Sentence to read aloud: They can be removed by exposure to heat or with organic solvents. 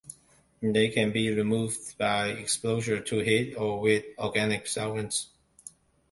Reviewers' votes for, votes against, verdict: 2, 0, accepted